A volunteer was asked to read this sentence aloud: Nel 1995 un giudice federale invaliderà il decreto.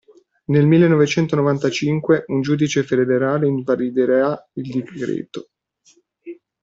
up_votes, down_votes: 0, 2